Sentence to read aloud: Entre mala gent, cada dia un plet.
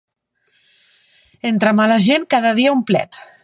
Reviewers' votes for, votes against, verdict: 3, 0, accepted